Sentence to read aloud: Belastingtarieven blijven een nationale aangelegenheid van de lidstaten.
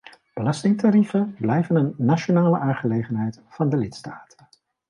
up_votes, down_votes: 2, 0